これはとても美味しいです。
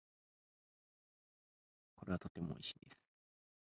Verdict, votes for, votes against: rejected, 0, 2